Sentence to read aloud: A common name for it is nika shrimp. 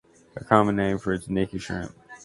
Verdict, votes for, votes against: accepted, 2, 0